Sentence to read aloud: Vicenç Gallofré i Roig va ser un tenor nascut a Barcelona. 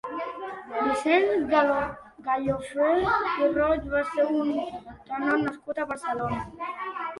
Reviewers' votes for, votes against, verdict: 0, 2, rejected